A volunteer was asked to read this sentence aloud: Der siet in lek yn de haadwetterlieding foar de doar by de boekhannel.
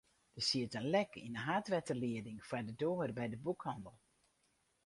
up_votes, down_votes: 2, 2